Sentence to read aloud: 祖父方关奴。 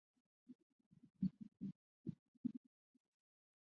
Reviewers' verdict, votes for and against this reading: rejected, 0, 4